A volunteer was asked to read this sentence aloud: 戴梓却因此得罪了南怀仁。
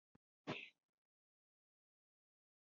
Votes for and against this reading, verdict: 0, 2, rejected